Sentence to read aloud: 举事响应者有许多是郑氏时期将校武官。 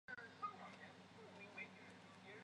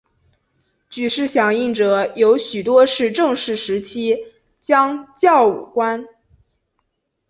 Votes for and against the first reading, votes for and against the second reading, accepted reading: 0, 3, 2, 1, second